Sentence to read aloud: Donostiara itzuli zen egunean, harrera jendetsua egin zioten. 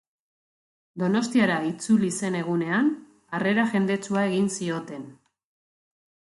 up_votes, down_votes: 2, 0